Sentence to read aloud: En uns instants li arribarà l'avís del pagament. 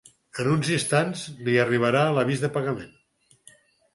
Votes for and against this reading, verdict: 2, 4, rejected